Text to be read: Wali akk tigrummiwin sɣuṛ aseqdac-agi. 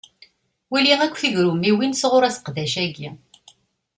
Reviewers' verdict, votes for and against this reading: accepted, 2, 1